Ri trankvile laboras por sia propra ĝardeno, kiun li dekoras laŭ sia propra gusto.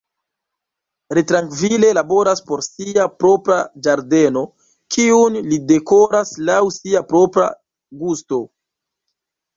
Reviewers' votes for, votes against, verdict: 1, 2, rejected